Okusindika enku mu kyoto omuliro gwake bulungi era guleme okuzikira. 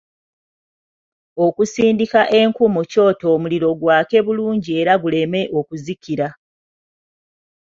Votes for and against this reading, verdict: 2, 0, accepted